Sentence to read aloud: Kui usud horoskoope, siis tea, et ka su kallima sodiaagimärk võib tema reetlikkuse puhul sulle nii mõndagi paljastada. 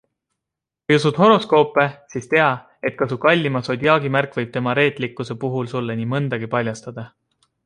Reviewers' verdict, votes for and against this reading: accepted, 2, 0